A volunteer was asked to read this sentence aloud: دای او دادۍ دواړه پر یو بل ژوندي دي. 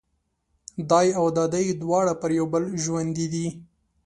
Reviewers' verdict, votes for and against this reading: accepted, 2, 0